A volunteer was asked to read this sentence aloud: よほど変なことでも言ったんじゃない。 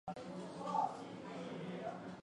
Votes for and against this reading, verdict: 0, 2, rejected